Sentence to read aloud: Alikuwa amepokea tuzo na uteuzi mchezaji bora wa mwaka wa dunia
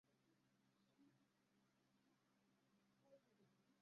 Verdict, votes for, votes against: rejected, 0, 2